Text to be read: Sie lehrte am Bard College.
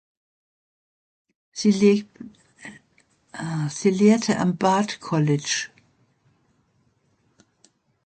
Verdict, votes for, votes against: rejected, 0, 2